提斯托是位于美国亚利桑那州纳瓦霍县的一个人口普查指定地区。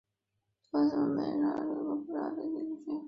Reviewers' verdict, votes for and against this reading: rejected, 0, 4